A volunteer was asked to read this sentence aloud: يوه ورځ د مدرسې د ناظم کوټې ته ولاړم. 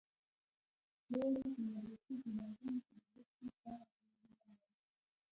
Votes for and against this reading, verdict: 0, 2, rejected